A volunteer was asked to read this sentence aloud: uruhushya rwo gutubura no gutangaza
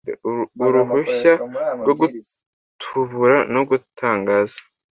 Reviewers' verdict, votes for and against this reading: rejected, 1, 2